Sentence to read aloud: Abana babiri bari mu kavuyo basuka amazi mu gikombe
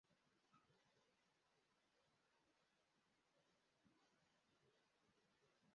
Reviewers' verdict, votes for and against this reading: rejected, 0, 2